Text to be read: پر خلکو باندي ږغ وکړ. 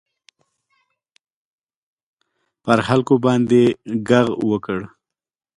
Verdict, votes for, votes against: rejected, 1, 2